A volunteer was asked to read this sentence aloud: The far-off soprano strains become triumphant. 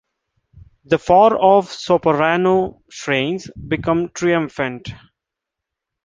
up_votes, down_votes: 1, 2